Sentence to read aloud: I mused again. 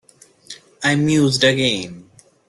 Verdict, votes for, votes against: accepted, 2, 0